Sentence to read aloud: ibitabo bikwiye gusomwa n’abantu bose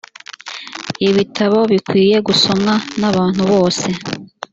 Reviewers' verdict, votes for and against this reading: accepted, 2, 0